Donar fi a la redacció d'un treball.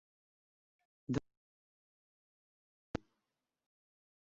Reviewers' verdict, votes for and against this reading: rejected, 0, 2